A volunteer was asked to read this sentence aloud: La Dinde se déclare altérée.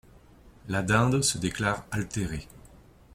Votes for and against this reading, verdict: 2, 0, accepted